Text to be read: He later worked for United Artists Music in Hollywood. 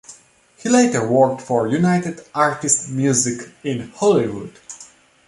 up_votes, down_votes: 2, 1